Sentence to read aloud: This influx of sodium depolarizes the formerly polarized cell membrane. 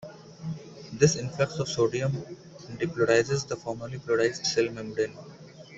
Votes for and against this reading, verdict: 0, 2, rejected